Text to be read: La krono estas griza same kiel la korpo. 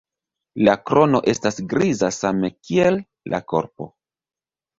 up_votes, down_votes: 2, 0